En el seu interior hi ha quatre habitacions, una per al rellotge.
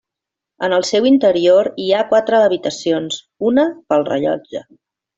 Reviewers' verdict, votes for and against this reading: rejected, 1, 2